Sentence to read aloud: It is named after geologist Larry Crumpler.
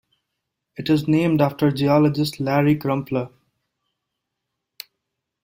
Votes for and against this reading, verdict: 2, 0, accepted